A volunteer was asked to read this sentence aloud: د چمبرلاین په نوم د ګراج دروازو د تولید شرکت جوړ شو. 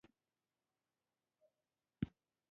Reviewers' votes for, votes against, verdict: 0, 2, rejected